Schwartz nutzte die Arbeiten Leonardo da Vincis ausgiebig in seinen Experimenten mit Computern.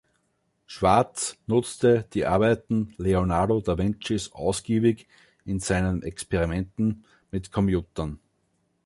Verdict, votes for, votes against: rejected, 1, 2